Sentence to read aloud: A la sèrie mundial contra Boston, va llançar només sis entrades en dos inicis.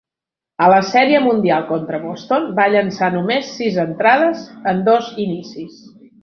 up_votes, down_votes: 3, 0